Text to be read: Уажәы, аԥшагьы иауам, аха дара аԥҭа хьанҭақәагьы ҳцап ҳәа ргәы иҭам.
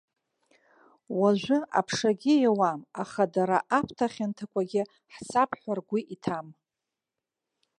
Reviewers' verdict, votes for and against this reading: accepted, 2, 0